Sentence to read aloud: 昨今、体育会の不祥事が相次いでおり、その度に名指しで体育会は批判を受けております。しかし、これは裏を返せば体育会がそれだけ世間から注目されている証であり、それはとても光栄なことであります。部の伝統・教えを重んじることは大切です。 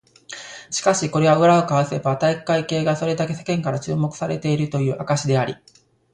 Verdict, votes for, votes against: rejected, 0, 2